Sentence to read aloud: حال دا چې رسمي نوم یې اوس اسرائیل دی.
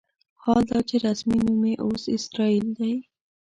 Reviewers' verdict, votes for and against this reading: rejected, 1, 2